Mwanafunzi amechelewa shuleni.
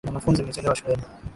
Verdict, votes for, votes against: rejected, 1, 2